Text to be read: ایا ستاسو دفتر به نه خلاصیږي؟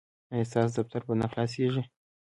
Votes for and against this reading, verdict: 2, 0, accepted